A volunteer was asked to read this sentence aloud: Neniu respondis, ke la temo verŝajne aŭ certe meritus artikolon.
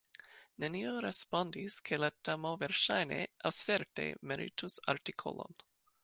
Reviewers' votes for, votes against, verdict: 1, 2, rejected